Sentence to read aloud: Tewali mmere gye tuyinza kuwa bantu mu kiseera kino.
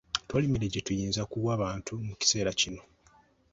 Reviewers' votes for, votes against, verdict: 2, 0, accepted